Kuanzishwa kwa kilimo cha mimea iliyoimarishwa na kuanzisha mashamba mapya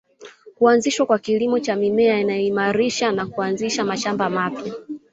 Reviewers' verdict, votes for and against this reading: accepted, 6, 0